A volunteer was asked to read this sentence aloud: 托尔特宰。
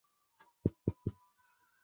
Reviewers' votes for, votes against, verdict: 1, 7, rejected